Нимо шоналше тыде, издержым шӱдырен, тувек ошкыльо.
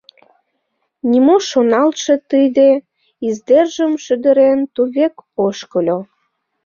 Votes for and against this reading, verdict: 1, 2, rejected